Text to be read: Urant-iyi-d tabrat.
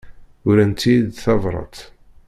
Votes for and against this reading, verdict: 2, 0, accepted